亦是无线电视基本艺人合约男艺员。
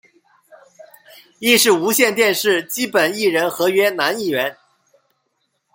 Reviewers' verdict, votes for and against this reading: accepted, 2, 0